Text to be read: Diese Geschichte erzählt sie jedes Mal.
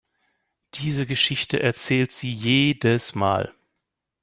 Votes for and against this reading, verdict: 2, 0, accepted